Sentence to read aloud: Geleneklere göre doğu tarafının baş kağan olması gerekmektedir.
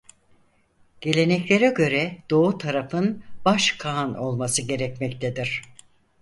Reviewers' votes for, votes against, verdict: 0, 4, rejected